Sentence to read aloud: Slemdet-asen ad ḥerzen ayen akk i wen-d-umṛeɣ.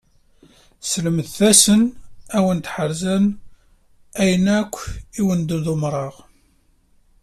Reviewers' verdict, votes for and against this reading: rejected, 1, 2